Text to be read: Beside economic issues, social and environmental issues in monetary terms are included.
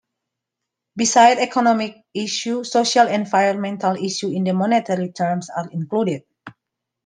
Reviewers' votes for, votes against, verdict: 0, 3, rejected